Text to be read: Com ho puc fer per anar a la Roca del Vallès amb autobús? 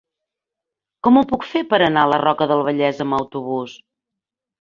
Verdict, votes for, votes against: accepted, 3, 0